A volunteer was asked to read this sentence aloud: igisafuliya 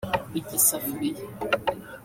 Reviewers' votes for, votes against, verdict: 1, 2, rejected